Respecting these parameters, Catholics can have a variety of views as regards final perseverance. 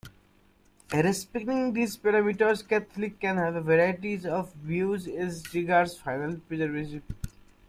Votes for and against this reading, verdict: 1, 2, rejected